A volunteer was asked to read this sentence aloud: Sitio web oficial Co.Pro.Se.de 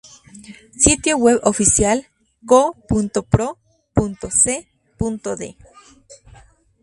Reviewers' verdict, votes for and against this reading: accepted, 4, 2